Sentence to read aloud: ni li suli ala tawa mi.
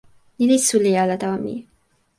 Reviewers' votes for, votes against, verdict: 2, 0, accepted